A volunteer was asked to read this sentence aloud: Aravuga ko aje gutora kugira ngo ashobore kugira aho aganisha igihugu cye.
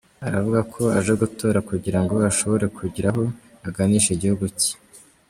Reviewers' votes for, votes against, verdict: 2, 1, accepted